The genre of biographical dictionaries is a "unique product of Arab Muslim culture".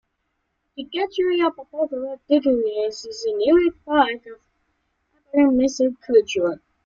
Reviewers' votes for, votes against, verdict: 1, 2, rejected